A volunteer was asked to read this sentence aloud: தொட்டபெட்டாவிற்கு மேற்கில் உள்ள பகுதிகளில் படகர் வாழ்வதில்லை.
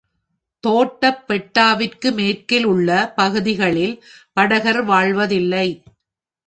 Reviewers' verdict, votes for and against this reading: rejected, 1, 3